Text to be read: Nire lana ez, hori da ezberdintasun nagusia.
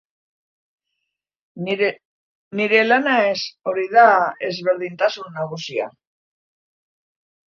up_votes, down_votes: 1, 2